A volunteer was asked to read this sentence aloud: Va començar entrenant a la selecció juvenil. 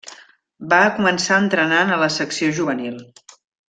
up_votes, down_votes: 1, 2